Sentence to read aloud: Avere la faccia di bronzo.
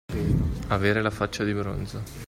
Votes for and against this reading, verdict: 2, 0, accepted